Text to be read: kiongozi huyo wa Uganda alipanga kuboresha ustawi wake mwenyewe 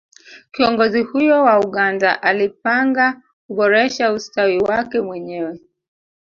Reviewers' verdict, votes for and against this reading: rejected, 1, 2